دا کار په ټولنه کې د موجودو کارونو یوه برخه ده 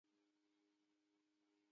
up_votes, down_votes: 0, 2